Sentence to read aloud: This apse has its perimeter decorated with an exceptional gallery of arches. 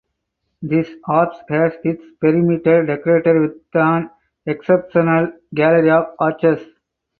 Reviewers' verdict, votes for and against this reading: accepted, 4, 2